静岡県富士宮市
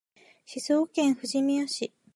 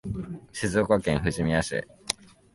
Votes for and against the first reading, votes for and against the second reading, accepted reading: 1, 2, 2, 0, second